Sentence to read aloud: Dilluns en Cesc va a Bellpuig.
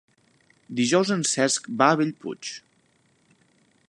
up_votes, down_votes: 0, 2